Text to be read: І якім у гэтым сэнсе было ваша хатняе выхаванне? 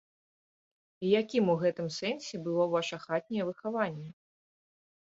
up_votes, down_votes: 2, 0